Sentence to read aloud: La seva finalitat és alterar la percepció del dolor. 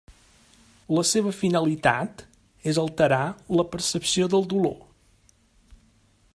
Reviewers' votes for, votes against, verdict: 3, 0, accepted